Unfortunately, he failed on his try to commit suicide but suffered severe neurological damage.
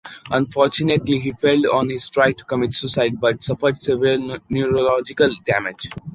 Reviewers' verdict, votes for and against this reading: rejected, 0, 2